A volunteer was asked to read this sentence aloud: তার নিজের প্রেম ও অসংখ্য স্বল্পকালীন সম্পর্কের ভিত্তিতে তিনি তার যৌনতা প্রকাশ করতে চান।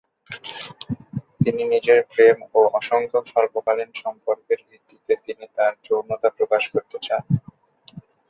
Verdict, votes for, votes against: rejected, 0, 2